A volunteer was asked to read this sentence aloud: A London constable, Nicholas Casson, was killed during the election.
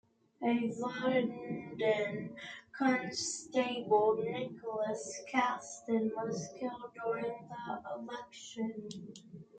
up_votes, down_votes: 0, 2